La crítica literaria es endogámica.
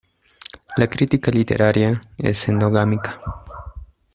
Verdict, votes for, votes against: accepted, 2, 0